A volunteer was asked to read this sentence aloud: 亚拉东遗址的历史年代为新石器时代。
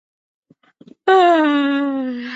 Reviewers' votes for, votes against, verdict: 0, 3, rejected